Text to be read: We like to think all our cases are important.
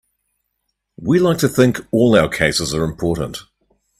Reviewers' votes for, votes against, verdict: 4, 0, accepted